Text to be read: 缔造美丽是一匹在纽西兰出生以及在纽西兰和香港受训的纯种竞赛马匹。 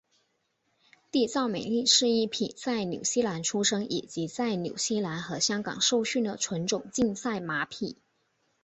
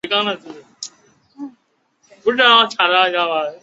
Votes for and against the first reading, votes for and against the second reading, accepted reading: 3, 0, 0, 2, first